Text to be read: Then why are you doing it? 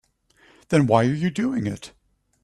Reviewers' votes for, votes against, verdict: 2, 0, accepted